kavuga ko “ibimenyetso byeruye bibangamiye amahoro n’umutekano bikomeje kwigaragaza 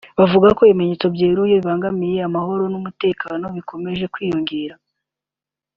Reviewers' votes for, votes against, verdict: 0, 2, rejected